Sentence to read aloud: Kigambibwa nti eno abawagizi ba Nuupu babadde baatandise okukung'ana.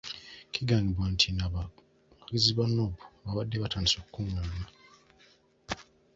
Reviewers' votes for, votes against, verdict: 1, 2, rejected